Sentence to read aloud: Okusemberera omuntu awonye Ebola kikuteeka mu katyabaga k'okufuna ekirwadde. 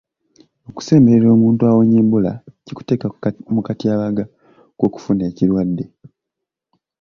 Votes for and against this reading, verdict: 0, 2, rejected